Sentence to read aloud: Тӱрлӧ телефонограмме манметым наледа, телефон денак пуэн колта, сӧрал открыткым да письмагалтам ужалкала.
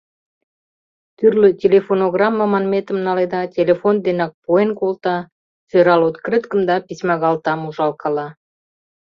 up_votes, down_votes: 2, 1